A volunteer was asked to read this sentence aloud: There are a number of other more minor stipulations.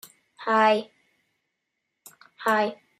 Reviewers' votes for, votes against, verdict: 0, 9, rejected